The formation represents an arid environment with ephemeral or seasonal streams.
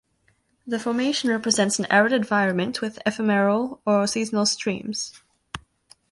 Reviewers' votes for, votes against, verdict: 2, 0, accepted